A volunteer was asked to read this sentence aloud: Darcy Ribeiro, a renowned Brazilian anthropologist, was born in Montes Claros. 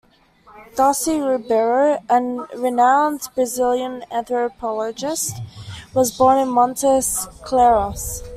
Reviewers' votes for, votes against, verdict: 0, 2, rejected